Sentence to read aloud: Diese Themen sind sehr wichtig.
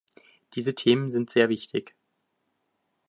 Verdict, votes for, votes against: accepted, 2, 0